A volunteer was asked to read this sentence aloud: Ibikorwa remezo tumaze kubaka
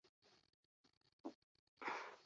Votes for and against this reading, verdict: 0, 2, rejected